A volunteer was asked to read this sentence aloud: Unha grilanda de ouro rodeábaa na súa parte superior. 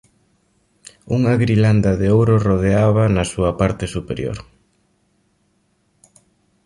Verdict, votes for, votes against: accepted, 2, 0